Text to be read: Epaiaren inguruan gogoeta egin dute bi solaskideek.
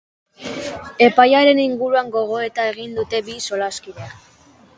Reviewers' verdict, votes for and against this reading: accepted, 2, 0